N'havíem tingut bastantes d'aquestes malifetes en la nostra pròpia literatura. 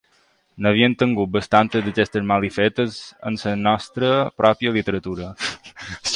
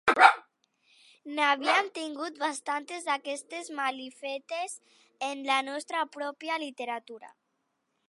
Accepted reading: second